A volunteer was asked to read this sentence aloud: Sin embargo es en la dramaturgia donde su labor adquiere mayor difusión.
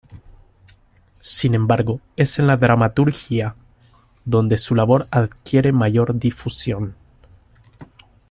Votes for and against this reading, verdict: 2, 0, accepted